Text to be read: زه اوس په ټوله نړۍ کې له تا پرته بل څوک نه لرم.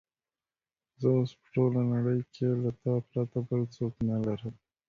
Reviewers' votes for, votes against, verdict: 1, 2, rejected